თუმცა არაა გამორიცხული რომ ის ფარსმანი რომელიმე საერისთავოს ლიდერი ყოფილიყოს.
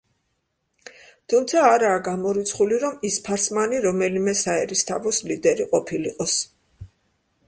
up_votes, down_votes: 2, 0